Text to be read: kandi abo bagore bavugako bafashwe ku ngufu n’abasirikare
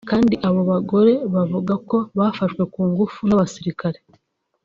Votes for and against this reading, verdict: 1, 2, rejected